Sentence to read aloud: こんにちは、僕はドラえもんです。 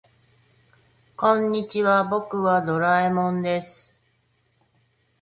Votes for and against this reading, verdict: 2, 0, accepted